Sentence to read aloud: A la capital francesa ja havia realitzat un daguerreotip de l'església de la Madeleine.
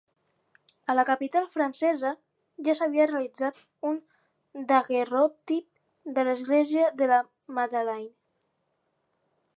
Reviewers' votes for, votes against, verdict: 0, 4, rejected